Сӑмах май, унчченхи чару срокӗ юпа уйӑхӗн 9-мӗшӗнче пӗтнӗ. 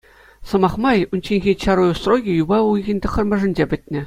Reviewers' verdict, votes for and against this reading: rejected, 0, 2